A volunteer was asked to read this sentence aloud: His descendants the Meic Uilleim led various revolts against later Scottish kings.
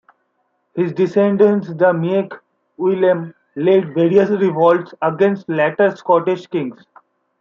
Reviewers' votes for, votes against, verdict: 2, 0, accepted